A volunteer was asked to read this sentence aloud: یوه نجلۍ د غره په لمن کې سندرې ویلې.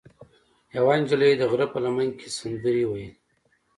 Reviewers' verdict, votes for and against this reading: accepted, 2, 0